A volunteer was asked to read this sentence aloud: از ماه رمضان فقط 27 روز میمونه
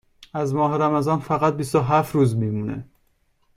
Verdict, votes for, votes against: rejected, 0, 2